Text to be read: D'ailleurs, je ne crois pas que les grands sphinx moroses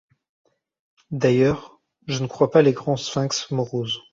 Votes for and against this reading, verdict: 1, 2, rejected